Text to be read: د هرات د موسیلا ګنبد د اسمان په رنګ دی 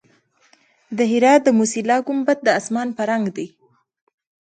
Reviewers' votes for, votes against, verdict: 1, 2, rejected